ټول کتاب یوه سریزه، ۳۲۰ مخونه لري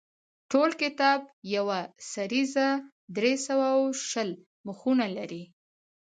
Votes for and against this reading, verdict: 0, 2, rejected